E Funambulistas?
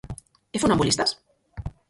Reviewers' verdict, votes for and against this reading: rejected, 0, 4